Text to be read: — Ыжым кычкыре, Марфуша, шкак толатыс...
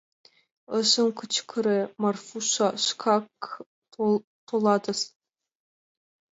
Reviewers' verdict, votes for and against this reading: rejected, 1, 2